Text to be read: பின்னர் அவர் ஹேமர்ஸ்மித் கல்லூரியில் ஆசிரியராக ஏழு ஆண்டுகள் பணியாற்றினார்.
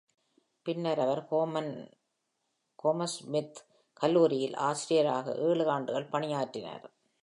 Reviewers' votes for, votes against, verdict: 0, 2, rejected